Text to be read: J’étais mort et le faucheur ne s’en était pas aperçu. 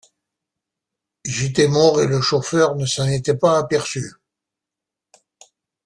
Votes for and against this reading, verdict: 1, 3, rejected